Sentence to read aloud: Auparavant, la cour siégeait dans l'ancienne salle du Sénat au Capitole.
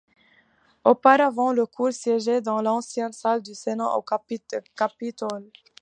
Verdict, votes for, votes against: accepted, 2, 1